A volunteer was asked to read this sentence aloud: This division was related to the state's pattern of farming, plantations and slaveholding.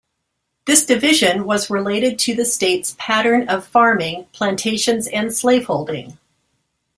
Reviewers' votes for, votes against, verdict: 2, 0, accepted